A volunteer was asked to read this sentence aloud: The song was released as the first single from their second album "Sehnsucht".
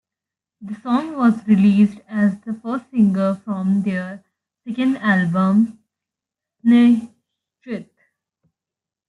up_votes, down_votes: 2, 0